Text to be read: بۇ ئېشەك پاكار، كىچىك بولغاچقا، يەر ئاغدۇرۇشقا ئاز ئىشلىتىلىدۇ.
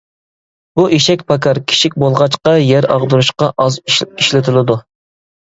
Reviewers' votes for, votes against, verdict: 1, 2, rejected